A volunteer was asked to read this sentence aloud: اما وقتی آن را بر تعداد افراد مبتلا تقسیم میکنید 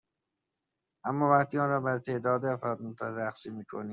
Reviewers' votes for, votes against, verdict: 0, 2, rejected